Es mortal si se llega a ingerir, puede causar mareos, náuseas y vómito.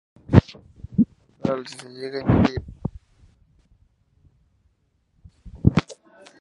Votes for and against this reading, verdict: 0, 2, rejected